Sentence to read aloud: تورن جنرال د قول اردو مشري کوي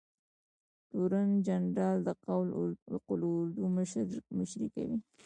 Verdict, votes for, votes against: rejected, 1, 2